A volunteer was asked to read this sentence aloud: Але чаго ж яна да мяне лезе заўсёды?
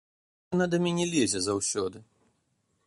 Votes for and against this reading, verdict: 0, 2, rejected